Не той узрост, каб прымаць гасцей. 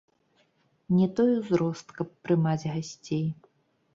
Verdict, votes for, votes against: rejected, 1, 2